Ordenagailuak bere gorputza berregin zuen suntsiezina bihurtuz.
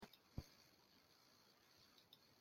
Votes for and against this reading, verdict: 0, 2, rejected